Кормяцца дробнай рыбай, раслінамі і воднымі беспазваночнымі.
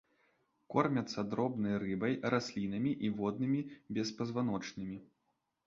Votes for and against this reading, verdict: 2, 0, accepted